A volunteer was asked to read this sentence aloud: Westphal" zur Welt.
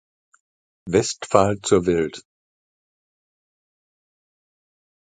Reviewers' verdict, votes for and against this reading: accepted, 2, 1